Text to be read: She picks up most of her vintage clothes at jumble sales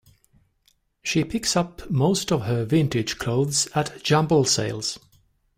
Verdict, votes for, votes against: accepted, 2, 0